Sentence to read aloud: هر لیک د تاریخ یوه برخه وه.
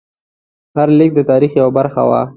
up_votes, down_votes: 2, 0